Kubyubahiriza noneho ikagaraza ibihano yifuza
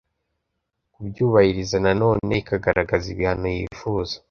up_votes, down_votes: 0, 2